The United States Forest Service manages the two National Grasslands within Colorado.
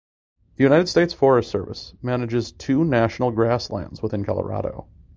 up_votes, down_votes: 0, 2